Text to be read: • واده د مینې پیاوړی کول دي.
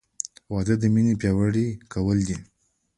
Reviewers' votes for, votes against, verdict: 2, 1, accepted